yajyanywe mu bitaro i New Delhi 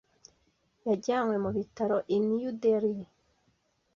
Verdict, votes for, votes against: rejected, 1, 2